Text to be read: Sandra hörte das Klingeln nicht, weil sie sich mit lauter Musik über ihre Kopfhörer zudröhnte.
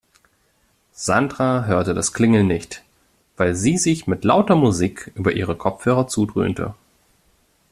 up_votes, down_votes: 2, 0